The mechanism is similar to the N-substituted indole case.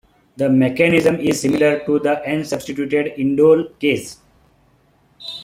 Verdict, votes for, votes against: accepted, 2, 0